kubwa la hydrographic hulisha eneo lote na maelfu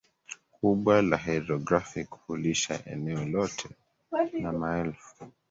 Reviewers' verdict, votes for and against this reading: rejected, 2, 3